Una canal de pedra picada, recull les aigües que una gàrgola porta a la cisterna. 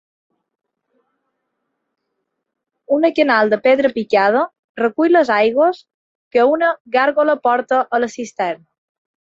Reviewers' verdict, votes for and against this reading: accepted, 2, 1